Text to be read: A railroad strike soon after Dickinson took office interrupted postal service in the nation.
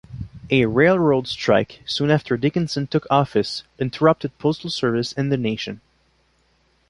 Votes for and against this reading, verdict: 3, 0, accepted